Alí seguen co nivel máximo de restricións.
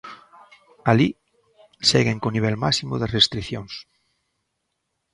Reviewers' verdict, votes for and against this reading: accepted, 2, 0